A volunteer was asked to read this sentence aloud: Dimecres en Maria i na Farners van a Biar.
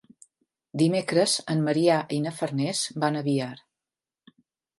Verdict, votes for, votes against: rejected, 0, 2